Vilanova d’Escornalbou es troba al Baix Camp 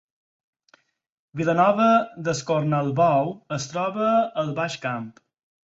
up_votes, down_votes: 4, 0